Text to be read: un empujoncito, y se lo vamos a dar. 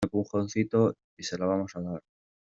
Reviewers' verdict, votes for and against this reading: accepted, 2, 0